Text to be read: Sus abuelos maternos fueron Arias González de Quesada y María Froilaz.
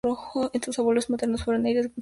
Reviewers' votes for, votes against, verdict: 0, 4, rejected